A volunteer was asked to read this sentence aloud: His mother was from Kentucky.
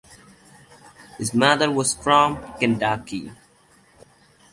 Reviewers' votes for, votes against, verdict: 2, 0, accepted